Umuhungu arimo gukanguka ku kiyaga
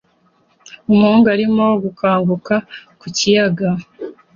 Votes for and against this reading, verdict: 2, 0, accepted